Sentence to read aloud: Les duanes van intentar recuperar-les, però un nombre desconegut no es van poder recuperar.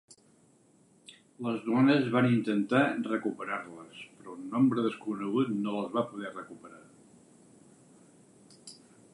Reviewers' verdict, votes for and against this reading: rejected, 2, 4